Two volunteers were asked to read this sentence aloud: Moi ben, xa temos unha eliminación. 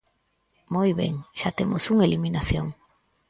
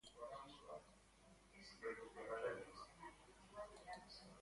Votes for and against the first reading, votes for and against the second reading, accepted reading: 4, 0, 0, 2, first